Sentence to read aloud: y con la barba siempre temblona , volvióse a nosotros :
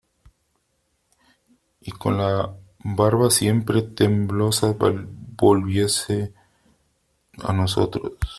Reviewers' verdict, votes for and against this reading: rejected, 0, 3